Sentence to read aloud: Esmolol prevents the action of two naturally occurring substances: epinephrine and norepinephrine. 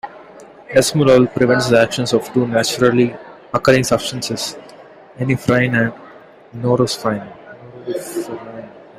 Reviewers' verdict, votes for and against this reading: rejected, 0, 2